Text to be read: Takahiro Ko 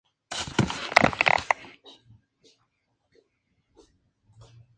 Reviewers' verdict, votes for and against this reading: rejected, 0, 2